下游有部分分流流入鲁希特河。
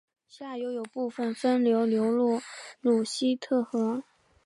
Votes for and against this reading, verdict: 1, 2, rejected